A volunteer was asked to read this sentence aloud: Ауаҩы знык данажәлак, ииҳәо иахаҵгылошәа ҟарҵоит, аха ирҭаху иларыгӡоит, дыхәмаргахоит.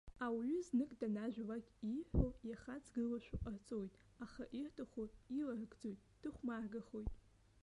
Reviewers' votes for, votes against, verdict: 1, 2, rejected